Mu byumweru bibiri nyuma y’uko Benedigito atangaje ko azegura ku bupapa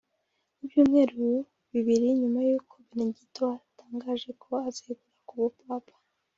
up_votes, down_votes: 0, 2